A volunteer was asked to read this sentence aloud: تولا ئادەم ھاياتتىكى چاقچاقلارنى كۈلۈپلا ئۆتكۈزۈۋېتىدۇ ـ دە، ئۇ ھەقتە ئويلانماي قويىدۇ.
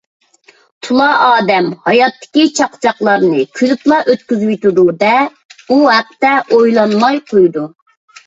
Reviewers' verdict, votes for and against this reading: accepted, 2, 0